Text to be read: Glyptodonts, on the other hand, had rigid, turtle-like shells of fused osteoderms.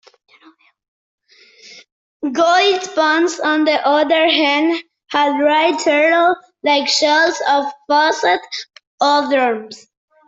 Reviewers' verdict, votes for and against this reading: rejected, 0, 2